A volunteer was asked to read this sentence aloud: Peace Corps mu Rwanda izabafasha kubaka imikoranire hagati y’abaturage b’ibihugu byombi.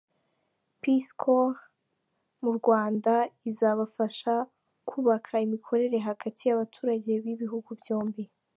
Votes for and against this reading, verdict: 1, 2, rejected